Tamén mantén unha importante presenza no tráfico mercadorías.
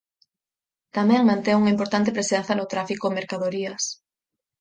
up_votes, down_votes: 4, 0